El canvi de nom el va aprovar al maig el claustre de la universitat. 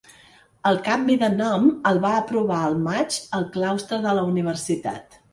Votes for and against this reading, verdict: 2, 0, accepted